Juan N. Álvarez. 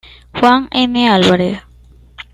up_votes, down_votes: 2, 1